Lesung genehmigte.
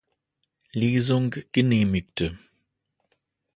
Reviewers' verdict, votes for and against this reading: accepted, 2, 0